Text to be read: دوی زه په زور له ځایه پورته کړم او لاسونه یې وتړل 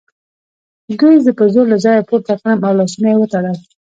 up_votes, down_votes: 1, 2